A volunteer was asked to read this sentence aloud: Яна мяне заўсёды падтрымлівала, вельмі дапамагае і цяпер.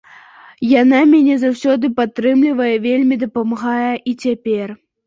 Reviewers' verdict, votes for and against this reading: rejected, 0, 2